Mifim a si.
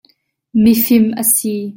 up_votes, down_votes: 2, 0